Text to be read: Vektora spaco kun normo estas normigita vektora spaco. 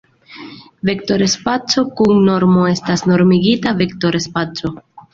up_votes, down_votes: 2, 0